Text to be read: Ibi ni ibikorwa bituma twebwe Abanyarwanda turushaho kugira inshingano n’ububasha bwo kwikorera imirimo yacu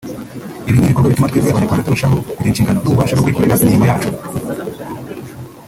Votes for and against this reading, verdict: 4, 1, accepted